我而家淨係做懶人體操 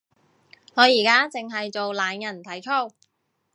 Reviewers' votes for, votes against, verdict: 2, 0, accepted